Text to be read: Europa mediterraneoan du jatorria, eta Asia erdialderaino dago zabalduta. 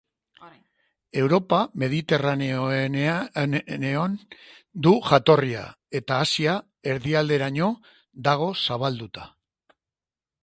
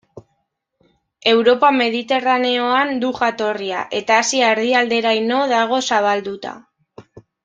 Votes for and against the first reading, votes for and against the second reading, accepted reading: 0, 2, 2, 0, second